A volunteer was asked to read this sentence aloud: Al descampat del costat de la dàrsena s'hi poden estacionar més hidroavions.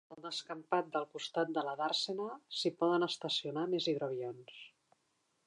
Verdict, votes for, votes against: rejected, 0, 2